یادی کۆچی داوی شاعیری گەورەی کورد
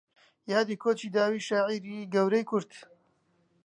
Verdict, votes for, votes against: accepted, 3, 0